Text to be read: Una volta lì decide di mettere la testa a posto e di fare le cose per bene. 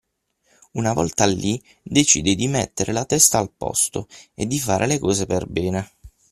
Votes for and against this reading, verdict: 3, 9, rejected